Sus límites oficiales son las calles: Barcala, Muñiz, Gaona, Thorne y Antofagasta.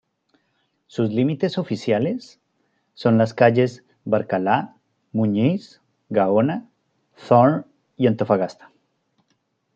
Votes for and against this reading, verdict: 2, 0, accepted